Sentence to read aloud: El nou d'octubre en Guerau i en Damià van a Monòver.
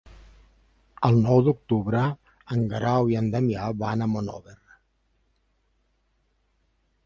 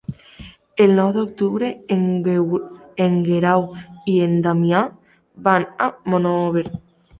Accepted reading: first